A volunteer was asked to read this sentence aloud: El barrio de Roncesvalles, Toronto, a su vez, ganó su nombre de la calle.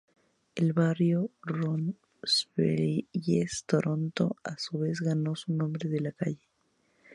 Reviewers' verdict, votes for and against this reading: rejected, 2, 4